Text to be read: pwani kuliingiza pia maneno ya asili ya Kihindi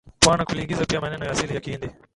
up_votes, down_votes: 0, 2